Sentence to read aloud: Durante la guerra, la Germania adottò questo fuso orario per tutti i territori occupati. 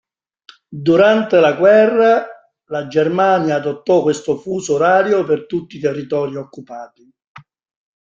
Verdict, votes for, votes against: accepted, 2, 1